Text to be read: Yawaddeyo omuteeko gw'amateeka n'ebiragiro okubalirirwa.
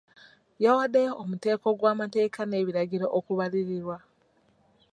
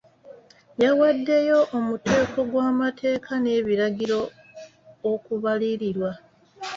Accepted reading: second